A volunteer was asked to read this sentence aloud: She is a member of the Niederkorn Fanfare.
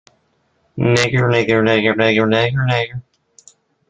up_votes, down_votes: 1, 2